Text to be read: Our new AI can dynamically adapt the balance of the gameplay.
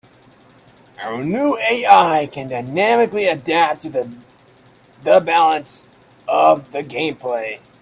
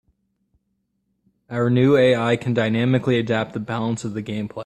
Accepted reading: second